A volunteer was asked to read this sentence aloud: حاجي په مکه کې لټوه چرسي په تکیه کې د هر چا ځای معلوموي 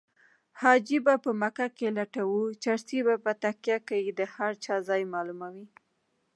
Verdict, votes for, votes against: rejected, 1, 2